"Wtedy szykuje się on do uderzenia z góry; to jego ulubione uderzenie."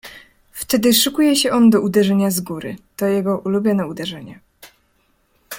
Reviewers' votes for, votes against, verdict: 2, 0, accepted